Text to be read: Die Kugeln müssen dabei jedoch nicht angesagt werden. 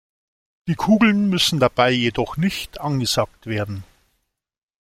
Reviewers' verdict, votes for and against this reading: accepted, 2, 0